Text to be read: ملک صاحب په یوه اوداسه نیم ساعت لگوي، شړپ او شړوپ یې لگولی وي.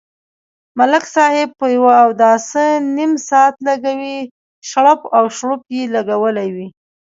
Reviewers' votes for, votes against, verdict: 2, 0, accepted